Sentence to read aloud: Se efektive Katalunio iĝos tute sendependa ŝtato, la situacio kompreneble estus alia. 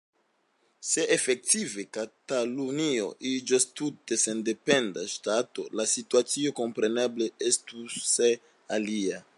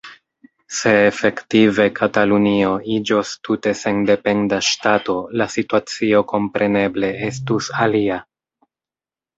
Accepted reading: second